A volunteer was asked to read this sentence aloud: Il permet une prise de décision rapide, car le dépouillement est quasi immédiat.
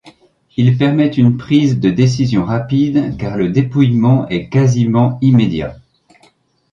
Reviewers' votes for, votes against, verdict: 0, 2, rejected